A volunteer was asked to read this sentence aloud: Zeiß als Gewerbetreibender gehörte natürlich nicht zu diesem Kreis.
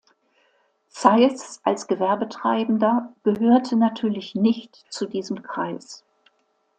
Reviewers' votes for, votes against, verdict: 2, 0, accepted